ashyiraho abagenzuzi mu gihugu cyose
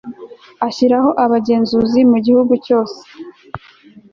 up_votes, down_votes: 2, 0